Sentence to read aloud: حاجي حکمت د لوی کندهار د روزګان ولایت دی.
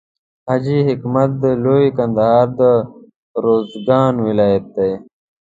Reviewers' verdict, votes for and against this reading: accepted, 2, 0